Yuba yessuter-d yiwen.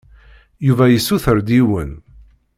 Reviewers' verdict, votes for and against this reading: accepted, 2, 0